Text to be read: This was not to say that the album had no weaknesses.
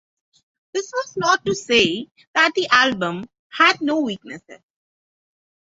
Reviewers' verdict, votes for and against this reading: accepted, 6, 0